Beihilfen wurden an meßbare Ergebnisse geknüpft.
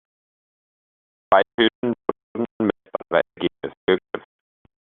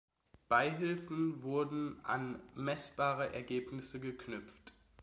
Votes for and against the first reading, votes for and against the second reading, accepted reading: 0, 2, 2, 0, second